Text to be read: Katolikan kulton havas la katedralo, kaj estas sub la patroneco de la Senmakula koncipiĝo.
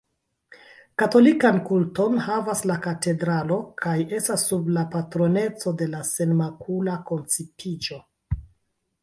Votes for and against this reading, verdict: 2, 1, accepted